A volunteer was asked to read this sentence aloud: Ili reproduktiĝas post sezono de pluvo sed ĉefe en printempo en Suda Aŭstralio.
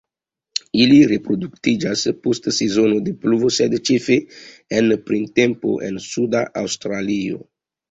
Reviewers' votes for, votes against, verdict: 2, 1, accepted